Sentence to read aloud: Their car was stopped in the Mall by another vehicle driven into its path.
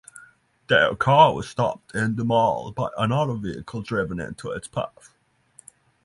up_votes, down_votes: 3, 0